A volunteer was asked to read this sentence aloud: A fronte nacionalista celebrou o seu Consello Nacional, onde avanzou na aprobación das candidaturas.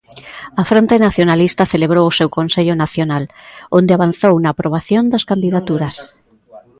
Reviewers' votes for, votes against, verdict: 0, 2, rejected